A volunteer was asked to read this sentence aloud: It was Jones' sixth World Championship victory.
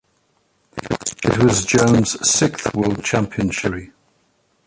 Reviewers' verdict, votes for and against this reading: rejected, 1, 4